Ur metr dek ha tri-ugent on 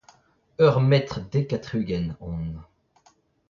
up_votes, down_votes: 0, 2